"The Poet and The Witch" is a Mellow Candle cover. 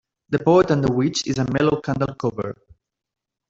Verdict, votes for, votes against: accepted, 2, 1